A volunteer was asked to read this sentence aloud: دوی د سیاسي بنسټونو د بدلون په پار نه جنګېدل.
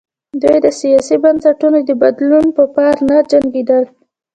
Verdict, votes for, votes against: accepted, 2, 1